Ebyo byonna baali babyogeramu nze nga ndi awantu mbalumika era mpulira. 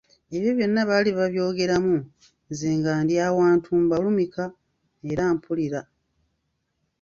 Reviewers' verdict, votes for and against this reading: accepted, 2, 0